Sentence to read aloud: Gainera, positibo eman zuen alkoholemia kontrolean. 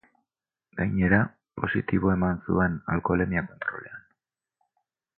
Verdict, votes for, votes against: rejected, 0, 2